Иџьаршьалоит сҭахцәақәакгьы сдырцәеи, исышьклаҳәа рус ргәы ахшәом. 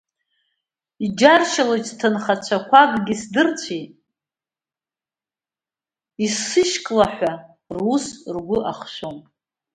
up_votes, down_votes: 0, 2